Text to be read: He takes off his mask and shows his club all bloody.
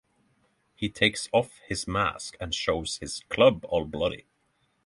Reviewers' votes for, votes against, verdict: 3, 0, accepted